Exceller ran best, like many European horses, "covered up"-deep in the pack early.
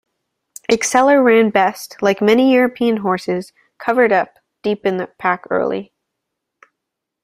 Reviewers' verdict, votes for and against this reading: accepted, 2, 0